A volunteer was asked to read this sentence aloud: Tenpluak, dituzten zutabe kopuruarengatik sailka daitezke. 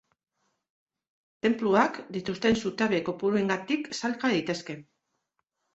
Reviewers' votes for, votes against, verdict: 0, 2, rejected